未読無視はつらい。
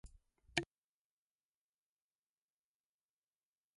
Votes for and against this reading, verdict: 0, 2, rejected